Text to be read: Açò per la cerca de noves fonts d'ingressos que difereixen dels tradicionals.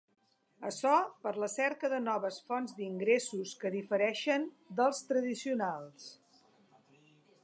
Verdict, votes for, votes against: accepted, 2, 0